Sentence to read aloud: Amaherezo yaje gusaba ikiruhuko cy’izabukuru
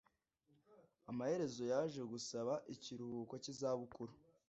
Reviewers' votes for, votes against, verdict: 2, 0, accepted